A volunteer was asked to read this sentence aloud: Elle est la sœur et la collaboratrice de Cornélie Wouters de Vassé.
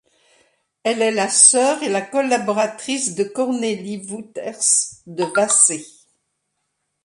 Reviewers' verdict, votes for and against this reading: accepted, 2, 0